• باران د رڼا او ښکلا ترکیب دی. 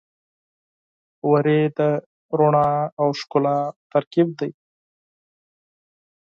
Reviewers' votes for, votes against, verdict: 0, 4, rejected